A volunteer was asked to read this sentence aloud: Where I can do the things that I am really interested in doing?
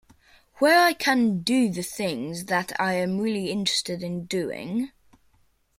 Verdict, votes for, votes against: accepted, 2, 0